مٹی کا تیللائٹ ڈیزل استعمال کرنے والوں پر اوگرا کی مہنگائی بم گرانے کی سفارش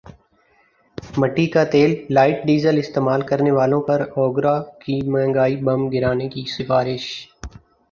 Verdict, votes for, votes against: accepted, 2, 1